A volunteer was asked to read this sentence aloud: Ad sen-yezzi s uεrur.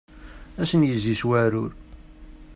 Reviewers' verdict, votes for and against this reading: rejected, 0, 2